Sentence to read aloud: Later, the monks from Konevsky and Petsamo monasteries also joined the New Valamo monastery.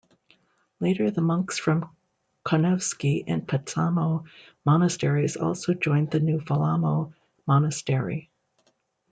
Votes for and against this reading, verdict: 0, 2, rejected